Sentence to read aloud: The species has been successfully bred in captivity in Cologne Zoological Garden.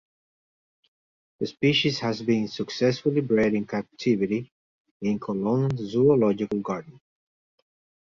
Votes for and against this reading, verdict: 2, 0, accepted